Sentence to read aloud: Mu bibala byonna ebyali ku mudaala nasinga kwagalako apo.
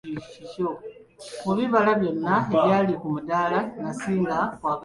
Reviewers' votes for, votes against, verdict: 0, 2, rejected